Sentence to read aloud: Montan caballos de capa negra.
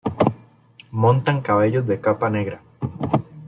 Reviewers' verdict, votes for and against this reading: accepted, 2, 1